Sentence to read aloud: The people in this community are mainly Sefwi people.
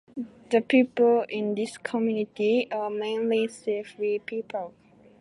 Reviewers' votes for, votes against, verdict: 2, 0, accepted